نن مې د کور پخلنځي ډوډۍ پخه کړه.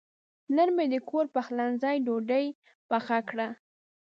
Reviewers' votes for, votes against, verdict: 2, 0, accepted